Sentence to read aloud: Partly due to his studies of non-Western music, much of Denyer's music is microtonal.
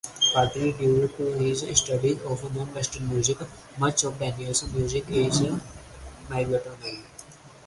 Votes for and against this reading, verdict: 0, 4, rejected